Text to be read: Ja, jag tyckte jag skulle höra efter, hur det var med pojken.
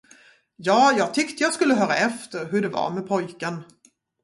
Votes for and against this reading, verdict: 2, 0, accepted